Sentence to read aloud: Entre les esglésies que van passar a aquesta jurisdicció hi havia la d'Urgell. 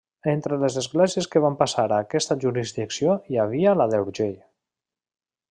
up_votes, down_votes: 1, 2